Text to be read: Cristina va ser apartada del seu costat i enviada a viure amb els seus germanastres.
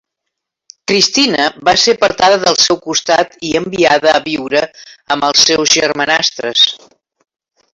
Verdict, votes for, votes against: accepted, 3, 1